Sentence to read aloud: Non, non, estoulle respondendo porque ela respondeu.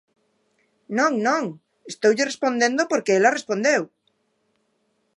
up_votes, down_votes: 2, 0